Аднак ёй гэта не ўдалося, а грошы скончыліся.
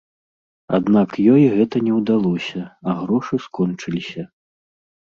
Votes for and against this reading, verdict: 2, 0, accepted